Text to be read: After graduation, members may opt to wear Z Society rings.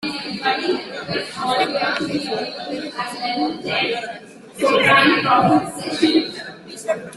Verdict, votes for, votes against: rejected, 0, 2